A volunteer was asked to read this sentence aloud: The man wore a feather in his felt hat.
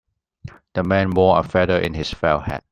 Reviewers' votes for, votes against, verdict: 0, 2, rejected